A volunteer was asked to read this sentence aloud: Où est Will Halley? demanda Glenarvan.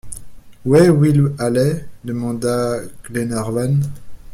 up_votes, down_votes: 1, 2